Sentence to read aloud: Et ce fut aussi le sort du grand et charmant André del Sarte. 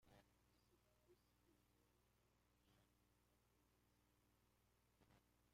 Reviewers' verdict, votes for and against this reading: rejected, 0, 2